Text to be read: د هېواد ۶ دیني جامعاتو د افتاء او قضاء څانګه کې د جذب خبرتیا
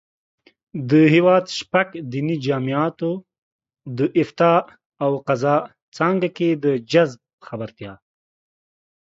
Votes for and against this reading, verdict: 0, 2, rejected